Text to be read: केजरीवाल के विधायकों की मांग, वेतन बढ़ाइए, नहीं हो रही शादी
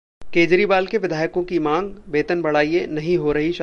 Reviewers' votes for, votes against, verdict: 0, 2, rejected